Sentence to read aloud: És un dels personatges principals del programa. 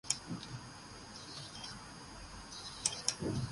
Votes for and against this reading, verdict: 1, 2, rejected